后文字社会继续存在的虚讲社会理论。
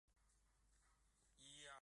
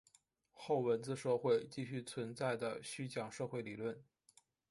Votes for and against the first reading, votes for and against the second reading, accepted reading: 0, 2, 2, 0, second